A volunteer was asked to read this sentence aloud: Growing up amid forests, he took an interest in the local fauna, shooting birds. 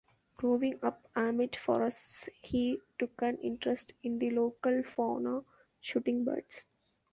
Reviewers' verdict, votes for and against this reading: rejected, 0, 2